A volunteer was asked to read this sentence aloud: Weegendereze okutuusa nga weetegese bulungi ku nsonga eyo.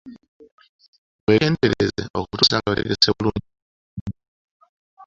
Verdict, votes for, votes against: rejected, 0, 2